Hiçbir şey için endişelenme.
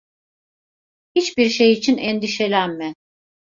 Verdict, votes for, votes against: accepted, 2, 0